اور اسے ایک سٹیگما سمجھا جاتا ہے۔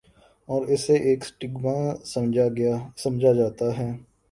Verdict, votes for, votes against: rejected, 0, 2